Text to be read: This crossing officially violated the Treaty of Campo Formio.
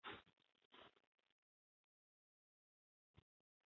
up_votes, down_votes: 0, 2